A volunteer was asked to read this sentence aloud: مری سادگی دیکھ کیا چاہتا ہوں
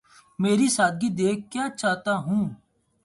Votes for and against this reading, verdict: 2, 2, rejected